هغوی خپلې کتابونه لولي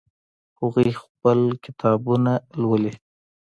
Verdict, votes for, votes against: rejected, 0, 2